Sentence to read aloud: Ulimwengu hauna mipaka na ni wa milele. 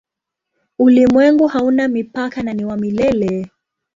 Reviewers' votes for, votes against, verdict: 3, 0, accepted